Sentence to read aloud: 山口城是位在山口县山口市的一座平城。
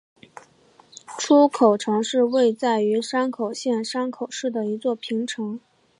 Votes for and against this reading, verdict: 0, 3, rejected